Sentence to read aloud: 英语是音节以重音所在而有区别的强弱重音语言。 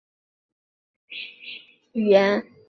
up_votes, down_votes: 1, 7